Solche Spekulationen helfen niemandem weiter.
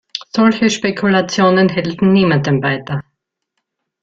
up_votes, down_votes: 1, 2